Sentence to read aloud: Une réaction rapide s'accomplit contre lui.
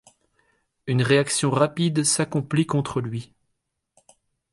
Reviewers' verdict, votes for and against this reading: accepted, 3, 0